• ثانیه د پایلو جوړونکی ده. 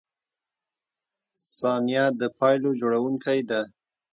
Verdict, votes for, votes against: accepted, 2, 0